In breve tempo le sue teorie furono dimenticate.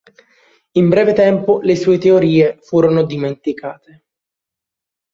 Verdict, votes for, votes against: accepted, 2, 0